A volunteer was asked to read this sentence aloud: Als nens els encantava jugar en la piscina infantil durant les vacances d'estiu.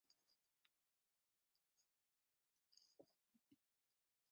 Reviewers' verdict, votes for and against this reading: rejected, 0, 2